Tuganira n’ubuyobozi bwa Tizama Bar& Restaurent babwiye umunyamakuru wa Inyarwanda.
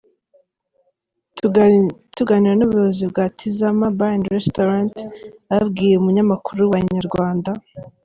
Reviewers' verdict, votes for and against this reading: rejected, 0, 2